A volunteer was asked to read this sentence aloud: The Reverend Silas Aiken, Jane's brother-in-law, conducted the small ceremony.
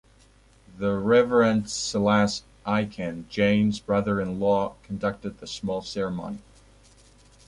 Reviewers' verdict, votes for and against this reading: accepted, 2, 0